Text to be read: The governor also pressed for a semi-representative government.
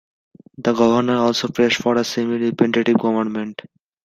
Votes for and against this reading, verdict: 1, 2, rejected